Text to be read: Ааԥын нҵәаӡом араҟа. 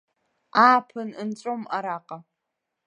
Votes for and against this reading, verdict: 1, 2, rejected